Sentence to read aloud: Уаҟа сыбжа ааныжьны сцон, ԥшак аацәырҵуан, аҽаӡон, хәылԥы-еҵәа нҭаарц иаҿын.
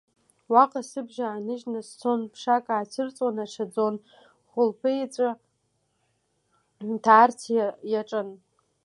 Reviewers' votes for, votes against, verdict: 1, 2, rejected